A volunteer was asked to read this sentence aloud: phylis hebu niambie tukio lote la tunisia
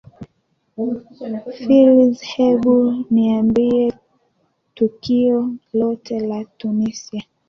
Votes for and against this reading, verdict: 1, 2, rejected